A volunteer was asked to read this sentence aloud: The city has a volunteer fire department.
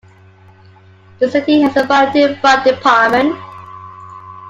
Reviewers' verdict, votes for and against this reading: accepted, 2, 1